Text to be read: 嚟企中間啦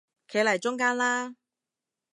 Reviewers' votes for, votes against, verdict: 0, 2, rejected